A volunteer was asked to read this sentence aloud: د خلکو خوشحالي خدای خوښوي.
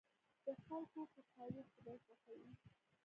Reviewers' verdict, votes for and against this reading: rejected, 0, 2